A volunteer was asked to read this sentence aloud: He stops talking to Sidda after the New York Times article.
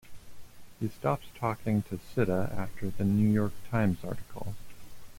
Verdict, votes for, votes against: accepted, 2, 0